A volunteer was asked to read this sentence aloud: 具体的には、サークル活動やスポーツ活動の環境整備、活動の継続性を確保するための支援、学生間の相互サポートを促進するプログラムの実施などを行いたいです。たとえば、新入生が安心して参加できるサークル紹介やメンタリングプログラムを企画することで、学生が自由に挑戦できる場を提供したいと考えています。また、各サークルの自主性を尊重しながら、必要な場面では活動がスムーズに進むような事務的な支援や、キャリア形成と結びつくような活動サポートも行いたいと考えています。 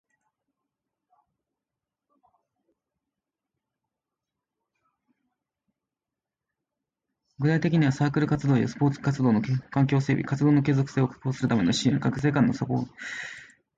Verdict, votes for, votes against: rejected, 0, 2